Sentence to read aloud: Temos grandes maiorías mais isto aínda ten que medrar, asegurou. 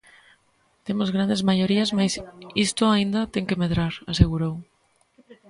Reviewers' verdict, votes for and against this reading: rejected, 0, 2